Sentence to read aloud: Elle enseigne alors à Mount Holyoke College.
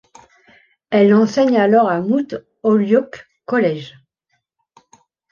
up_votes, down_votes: 1, 2